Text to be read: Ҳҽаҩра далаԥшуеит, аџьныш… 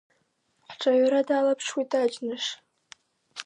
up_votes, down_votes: 2, 0